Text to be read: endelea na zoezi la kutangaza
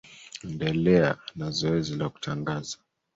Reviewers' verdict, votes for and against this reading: accepted, 2, 1